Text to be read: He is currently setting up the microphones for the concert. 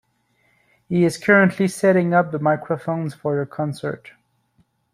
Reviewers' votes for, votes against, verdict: 2, 1, accepted